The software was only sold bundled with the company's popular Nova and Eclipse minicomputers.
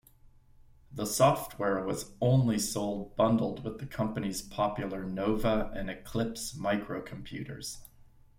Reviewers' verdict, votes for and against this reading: rejected, 0, 2